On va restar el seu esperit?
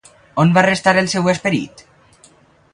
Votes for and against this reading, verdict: 0, 2, rejected